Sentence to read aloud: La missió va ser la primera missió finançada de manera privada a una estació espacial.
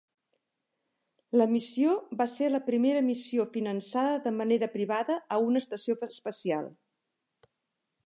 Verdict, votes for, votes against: accepted, 3, 2